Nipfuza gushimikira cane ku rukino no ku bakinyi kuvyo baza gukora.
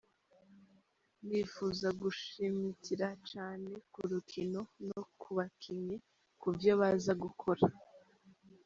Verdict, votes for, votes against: accepted, 2, 1